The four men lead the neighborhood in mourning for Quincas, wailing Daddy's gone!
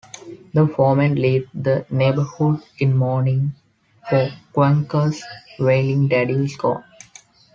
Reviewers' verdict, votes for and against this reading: rejected, 2, 3